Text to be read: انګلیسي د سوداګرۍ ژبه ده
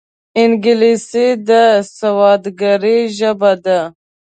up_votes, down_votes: 1, 2